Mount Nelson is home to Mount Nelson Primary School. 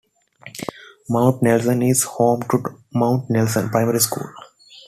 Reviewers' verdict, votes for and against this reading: accepted, 2, 0